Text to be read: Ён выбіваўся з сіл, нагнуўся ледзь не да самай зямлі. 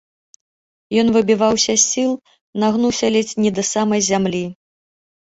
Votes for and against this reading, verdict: 2, 0, accepted